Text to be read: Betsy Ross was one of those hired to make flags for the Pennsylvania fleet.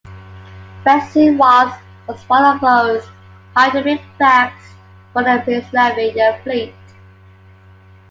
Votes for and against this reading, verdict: 0, 2, rejected